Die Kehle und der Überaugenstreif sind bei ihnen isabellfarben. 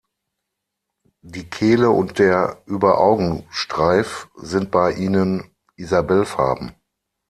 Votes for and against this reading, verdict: 3, 6, rejected